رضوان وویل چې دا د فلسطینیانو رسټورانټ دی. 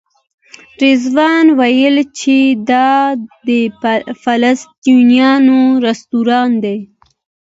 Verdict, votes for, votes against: rejected, 0, 2